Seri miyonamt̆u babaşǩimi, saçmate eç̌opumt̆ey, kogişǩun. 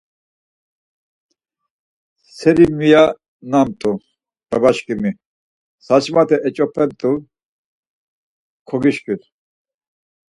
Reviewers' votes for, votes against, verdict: 2, 4, rejected